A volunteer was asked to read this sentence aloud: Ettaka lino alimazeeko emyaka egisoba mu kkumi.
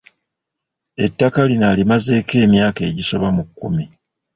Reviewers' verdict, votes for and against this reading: rejected, 1, 2